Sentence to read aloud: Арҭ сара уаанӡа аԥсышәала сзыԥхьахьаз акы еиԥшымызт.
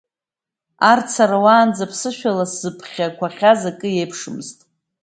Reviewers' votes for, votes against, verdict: 0, 2, rejected